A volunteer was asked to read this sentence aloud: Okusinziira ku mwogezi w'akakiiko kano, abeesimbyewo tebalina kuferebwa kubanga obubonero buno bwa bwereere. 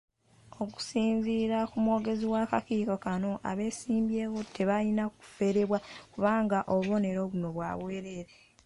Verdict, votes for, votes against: rejected, 1, 2